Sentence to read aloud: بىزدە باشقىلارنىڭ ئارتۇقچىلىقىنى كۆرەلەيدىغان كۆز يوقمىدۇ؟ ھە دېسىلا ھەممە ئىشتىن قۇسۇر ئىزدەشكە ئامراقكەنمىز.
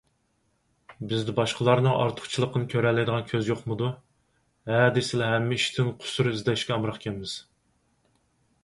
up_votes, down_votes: 4, 0